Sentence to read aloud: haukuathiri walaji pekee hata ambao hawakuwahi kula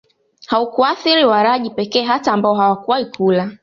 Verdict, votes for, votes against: accepted, 2, 1